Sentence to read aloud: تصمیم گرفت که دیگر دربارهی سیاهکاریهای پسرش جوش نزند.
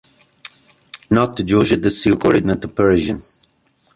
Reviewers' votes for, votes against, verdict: 0, 2, rejected